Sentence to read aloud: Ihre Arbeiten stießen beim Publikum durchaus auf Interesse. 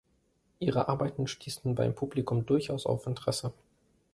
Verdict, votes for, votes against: accepted, 2, 0